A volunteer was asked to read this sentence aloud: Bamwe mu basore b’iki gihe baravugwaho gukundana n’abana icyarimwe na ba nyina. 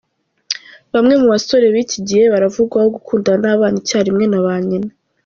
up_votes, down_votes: 2, 0